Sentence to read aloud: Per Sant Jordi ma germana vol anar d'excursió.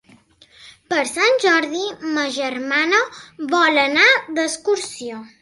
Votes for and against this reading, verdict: 4, 0, accepted